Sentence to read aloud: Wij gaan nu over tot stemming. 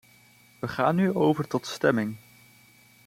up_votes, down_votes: 2, 0